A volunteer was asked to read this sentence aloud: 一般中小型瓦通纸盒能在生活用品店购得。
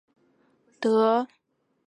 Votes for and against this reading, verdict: 0, 3, rejected